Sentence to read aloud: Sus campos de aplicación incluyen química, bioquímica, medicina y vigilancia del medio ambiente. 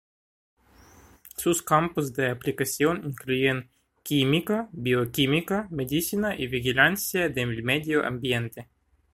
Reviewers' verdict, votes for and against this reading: rejected, 1, 2